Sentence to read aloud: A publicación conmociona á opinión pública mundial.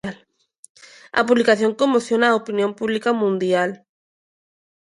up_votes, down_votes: 2, 0